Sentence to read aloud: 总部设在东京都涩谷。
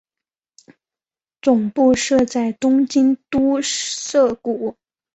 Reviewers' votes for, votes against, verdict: 5, 0, accepted